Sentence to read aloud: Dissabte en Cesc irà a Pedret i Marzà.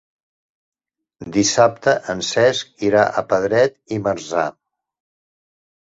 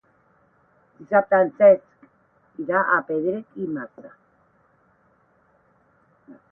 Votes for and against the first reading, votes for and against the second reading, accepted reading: 3, 0, 4, 8, first